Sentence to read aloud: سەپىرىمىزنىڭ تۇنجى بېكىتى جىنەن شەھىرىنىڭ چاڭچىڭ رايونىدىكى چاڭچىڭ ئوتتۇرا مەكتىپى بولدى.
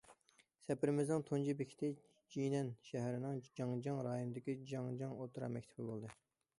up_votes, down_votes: 0, 2